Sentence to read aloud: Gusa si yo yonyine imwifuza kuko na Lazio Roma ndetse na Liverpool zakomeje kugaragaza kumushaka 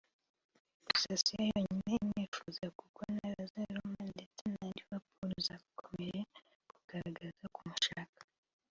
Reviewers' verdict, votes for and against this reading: accepted, 2, 1